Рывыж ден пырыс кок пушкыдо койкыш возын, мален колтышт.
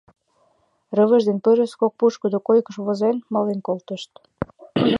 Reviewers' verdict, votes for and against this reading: rejected, 2, 3